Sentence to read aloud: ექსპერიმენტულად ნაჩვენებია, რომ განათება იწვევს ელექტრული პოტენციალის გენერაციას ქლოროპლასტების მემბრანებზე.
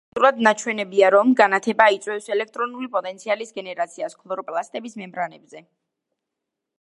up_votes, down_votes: 0, 2